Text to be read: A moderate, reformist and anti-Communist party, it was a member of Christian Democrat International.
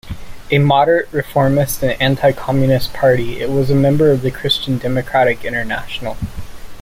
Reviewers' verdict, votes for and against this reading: rejected, 0, 2